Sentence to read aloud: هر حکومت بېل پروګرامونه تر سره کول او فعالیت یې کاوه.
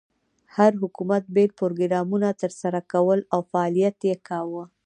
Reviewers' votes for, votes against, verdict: 0, 2, rejected